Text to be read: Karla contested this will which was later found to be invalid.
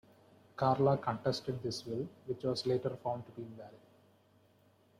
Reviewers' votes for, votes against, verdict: 2, 0, accepted